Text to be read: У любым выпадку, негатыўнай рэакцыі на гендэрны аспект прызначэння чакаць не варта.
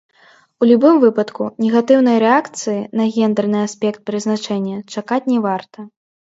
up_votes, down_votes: 0, 2